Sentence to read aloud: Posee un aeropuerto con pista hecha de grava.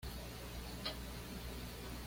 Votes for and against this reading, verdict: 1, 2, rejected